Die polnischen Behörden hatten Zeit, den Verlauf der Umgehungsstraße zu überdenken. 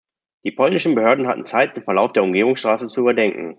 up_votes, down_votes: 2, 0